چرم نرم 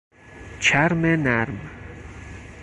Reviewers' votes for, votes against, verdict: 4, 0, accepted